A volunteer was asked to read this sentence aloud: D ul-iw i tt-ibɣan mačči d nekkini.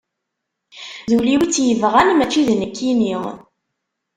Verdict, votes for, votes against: rejected, 1, 2